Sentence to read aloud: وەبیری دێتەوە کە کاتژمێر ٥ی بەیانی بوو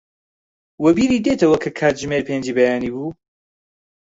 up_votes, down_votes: 0, 2